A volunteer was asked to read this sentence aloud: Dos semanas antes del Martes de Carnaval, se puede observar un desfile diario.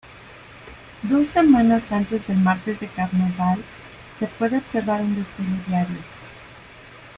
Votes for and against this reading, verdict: 2, 0, accepted